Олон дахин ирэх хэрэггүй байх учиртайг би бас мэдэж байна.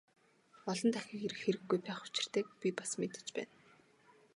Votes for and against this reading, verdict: 6, 0, accepted